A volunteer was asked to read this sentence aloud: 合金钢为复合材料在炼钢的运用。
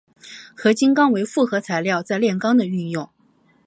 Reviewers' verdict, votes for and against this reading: accepted, 3, 0